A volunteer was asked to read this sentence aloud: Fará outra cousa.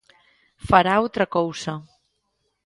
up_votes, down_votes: 2, 0